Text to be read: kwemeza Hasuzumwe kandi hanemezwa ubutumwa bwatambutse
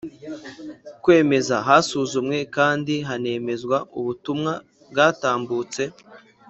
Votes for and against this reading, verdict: 3, 0, accepted